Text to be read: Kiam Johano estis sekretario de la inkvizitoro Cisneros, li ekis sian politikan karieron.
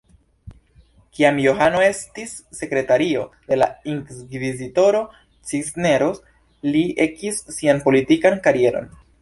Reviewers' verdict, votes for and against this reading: accepted, 2, 1